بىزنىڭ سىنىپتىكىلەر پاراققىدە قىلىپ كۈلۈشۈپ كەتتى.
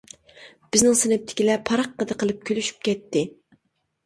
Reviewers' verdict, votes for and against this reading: accepted, 2, 0